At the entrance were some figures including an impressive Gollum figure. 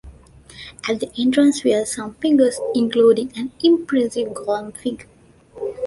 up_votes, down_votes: 2, 1